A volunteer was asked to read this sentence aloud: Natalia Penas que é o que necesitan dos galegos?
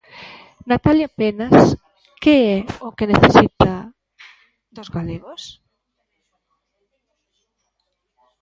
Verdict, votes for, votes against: rejected, 0, 2